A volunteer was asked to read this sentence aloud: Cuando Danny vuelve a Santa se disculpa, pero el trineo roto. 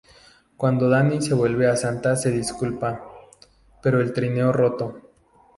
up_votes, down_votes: 0, 2